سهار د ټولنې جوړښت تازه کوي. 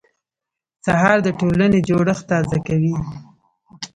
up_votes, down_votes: 0, 2